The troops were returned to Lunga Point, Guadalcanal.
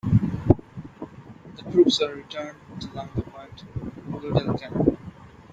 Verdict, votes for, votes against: rejected, 1, 2